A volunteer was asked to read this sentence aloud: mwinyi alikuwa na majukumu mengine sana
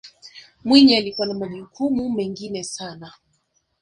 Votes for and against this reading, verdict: 4, 1, accepted